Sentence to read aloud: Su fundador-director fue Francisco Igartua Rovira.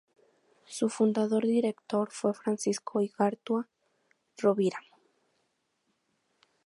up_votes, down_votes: 2, 2